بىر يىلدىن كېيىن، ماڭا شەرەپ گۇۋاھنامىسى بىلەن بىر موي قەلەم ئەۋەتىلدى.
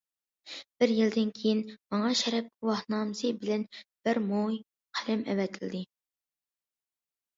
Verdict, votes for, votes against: accepted, 2, 0